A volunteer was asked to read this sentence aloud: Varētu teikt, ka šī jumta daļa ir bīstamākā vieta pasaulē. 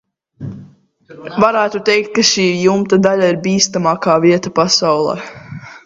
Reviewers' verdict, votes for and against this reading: rejected, 1, 2